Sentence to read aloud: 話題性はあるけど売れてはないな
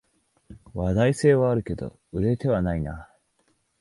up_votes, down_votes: 2, 0